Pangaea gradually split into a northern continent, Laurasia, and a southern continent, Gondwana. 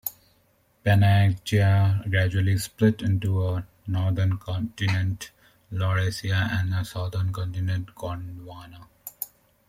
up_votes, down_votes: 0, 2